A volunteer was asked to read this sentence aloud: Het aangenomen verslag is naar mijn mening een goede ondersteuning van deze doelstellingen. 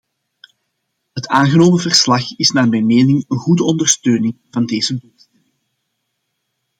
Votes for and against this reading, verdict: 0, 2, rejected